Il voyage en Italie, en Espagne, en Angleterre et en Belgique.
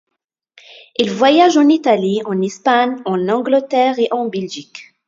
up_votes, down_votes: 2, 1